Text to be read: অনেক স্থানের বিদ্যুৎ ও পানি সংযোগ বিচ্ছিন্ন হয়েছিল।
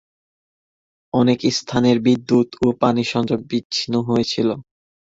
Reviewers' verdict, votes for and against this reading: accepted, 2, 0